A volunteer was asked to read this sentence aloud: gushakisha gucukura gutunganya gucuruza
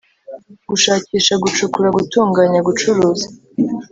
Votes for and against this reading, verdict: 2, 0, accepted